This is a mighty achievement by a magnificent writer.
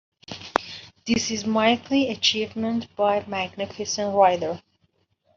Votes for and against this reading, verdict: 0, 2, rejected